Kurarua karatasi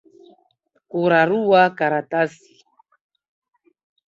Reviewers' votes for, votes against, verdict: 3, 1, accepted